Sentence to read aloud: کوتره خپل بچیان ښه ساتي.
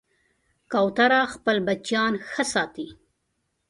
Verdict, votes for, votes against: accepted, 3, 0